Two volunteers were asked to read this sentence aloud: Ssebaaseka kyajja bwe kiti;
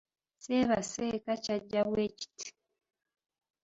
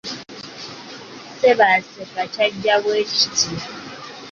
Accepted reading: second